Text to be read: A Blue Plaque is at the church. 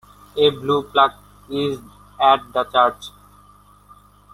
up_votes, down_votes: 2, 1